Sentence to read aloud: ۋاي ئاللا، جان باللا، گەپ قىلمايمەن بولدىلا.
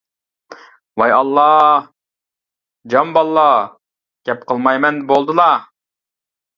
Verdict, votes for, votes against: accepted, 2, 0